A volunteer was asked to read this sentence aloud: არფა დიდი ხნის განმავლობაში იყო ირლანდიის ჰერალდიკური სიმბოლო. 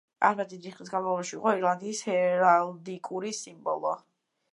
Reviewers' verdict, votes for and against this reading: rejected, 1, 2